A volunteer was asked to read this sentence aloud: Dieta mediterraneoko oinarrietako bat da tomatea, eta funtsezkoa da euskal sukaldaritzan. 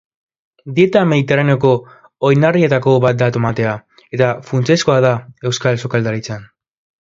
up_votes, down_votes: 3, 0